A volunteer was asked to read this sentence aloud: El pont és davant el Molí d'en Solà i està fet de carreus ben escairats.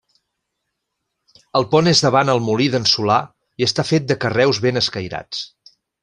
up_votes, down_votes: 3, 0